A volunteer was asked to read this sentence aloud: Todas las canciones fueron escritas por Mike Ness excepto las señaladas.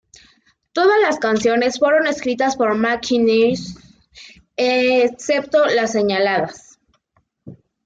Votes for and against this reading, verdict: 1, 2, rejected